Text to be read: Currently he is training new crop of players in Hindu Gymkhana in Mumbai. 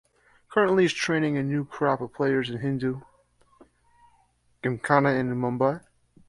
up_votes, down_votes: 2, 1